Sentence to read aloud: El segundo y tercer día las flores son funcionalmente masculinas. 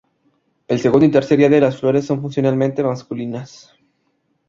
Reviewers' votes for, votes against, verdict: 0, 2, rejected